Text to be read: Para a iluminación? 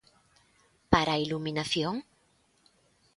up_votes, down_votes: 2, 0